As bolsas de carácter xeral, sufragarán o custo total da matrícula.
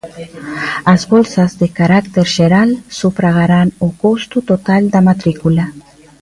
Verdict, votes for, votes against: rejected, 1, 2